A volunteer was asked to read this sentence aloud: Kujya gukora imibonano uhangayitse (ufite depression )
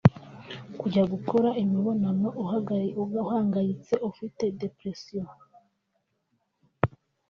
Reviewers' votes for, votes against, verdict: 0, 3, rejected